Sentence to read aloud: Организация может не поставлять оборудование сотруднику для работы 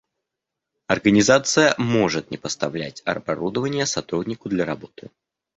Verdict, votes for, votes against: rejected, 0, 2